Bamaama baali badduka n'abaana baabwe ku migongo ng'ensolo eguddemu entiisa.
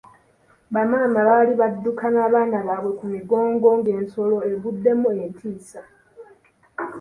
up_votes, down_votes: 2, 0